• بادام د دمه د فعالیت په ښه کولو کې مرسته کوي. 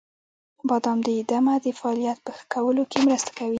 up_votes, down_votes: 1, 2